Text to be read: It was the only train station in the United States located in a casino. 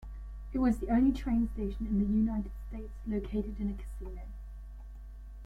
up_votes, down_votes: 2, 1